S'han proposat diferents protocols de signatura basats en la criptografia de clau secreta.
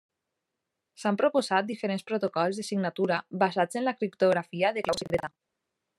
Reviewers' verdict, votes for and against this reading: rejected, 0, 2